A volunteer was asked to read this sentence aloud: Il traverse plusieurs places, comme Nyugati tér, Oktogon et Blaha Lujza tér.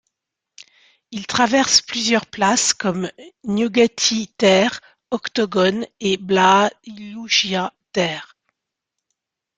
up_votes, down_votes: 1, 2